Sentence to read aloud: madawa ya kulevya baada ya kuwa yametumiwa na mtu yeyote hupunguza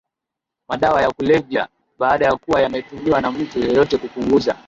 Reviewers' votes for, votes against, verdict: 2, 0, accepted